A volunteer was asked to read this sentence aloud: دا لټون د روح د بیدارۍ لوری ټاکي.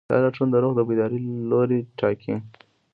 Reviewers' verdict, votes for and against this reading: accepted, 2, 0